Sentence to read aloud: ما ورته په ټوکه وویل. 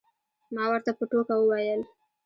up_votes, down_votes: 2, 0